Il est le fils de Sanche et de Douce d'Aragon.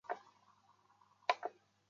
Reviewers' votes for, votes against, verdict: 0, 2, rejected